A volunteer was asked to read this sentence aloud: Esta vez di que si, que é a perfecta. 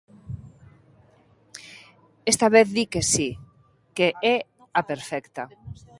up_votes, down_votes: 2, 0